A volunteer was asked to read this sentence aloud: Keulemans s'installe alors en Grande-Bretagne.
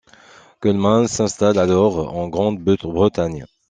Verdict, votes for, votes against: rejected, 1, 2